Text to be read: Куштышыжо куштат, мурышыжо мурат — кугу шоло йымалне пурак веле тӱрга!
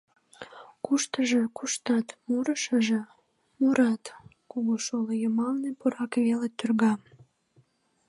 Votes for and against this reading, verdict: 1, 2, rejected